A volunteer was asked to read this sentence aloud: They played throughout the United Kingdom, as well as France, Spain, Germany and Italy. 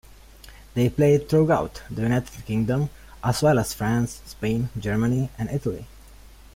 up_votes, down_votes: 2, 1